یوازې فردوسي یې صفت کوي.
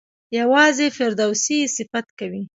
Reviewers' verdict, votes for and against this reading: rejected, 1, 2